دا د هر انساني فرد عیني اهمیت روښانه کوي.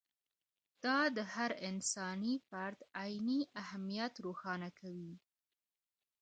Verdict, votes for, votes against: rejected, 0, 2